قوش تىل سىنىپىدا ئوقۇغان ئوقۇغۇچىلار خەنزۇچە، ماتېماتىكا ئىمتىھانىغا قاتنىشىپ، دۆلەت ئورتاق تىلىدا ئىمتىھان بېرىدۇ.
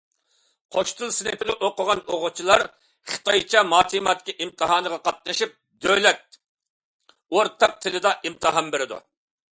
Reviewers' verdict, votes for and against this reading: rejected, 0, 2